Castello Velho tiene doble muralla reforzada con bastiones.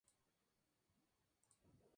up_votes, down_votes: 0, 4